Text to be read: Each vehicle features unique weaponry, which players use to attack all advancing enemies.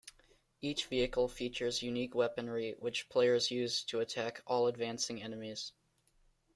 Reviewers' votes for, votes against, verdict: 2, 0, accepted